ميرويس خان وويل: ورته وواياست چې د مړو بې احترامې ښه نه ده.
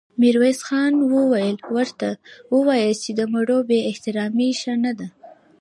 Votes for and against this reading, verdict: 2, 1, accepted